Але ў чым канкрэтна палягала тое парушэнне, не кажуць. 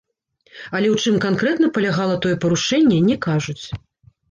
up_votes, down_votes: 1, 2